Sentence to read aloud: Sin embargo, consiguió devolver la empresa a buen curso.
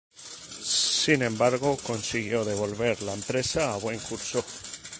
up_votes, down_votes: 2, 0